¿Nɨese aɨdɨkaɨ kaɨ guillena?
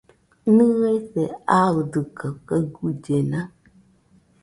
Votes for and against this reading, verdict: 2, 1, accepted